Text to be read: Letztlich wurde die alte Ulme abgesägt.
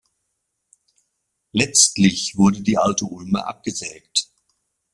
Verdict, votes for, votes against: accepted, 2, 1